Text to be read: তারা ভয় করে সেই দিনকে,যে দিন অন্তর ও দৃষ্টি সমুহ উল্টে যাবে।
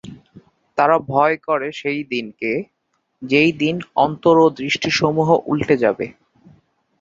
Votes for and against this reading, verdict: 3, 0, accepted